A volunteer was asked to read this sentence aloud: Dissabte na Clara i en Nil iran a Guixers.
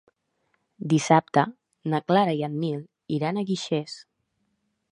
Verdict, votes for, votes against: accepted, 2, 0